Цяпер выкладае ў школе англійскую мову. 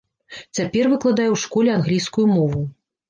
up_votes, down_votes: 3, 0